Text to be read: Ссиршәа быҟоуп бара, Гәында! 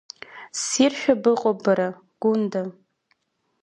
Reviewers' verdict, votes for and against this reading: accepted, 2, 0